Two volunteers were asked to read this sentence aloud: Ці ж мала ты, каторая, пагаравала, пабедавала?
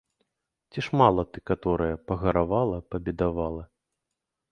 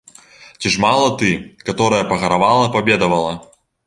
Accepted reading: second